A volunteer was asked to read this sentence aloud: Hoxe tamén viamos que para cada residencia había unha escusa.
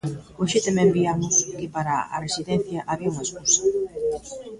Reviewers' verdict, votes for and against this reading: rejected, 0, 2